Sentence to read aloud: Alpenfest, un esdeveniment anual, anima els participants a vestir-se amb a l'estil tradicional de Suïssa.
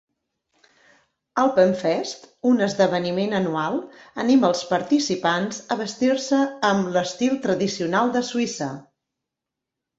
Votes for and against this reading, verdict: 2, 0, accepted